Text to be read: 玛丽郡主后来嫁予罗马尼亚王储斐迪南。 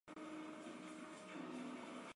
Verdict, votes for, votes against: rejected, 0, 2